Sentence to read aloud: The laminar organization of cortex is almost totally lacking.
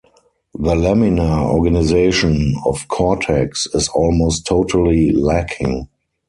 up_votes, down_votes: 4, 0